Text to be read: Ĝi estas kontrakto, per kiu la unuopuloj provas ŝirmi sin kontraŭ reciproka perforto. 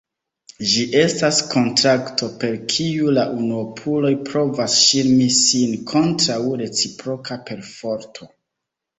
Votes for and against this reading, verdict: 1, 2, rejected